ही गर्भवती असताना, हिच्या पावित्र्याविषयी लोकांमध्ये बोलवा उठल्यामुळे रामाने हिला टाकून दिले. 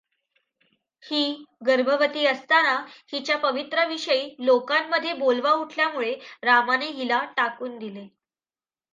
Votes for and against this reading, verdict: 1, 2, rejected